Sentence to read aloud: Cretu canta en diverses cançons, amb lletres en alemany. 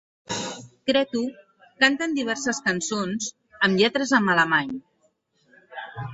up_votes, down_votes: 0, 4